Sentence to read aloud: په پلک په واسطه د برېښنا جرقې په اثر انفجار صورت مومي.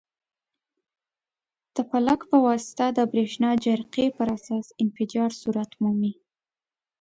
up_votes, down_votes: 2, 0